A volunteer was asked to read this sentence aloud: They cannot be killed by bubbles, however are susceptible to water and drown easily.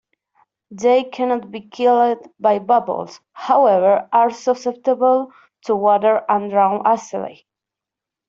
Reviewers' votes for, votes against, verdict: 0, 2, rejected